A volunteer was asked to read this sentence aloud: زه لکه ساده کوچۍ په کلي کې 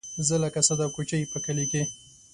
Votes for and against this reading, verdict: 2, 0, accepted